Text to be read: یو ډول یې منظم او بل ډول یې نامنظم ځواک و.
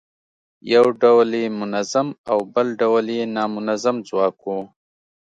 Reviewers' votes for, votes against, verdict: 2, 0, accepted